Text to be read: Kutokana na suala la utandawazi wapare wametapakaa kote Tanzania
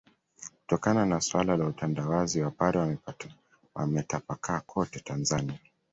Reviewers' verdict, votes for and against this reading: rejected, 0, 2